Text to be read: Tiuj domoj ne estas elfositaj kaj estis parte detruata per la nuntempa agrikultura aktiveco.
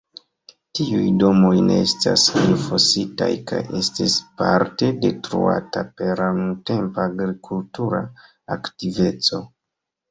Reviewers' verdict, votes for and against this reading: accepted, 2, 0